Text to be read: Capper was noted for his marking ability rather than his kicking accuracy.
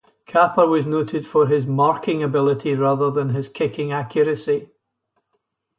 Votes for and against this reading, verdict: 2, 2, rejected